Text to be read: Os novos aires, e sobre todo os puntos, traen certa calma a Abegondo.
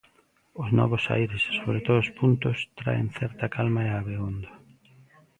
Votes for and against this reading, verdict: 2, 0, accepted